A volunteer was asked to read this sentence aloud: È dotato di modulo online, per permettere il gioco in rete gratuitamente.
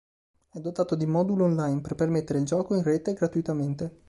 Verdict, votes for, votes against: accepted, 2, 0